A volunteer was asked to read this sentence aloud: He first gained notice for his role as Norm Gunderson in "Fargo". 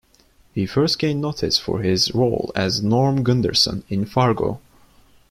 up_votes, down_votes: 2, 0